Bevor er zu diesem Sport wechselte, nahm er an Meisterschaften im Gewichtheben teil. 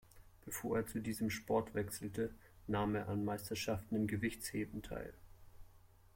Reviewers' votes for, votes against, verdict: 0, 2, rejected